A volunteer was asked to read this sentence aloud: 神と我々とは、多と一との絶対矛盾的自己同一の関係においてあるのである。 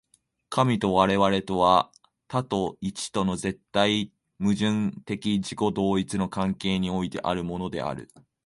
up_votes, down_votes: 0, 2